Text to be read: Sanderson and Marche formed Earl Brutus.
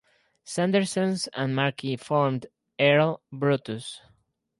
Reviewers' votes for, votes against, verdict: 2, 2, rejected